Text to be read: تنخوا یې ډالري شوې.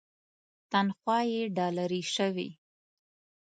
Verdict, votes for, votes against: accepted, 2, 0